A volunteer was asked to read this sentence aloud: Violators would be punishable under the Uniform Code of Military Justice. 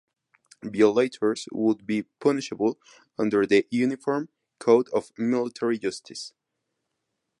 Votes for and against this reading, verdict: 4, 0, accepted